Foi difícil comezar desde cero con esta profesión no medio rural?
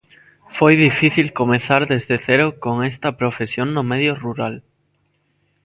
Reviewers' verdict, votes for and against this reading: accepted, 2, 0